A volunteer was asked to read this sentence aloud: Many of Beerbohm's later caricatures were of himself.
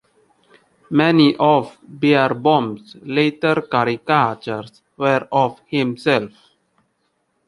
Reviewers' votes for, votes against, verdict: 0, 2, rejected